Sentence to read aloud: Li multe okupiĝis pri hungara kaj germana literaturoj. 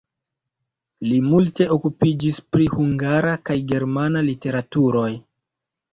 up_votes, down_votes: 1, 2